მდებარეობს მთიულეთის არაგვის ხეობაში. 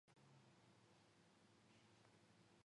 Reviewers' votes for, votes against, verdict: 0, 2, rejected